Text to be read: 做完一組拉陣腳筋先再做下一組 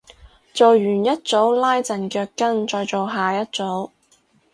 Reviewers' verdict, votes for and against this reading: rejected, 0, 2